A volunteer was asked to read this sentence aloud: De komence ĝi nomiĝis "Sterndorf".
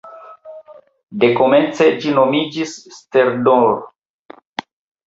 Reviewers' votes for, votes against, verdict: 1, 2, rejected